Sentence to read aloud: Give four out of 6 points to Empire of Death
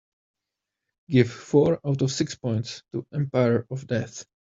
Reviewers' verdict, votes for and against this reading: rejected, 0, 2